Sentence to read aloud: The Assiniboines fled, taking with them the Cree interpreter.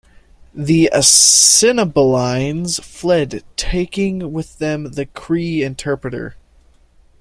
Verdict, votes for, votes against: accepted, 3, 1